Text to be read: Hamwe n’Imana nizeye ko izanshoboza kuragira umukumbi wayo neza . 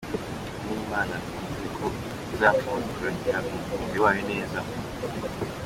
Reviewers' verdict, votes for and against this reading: accepted, 2, 1